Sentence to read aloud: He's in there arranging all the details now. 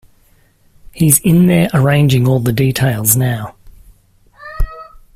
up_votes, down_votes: 2, 0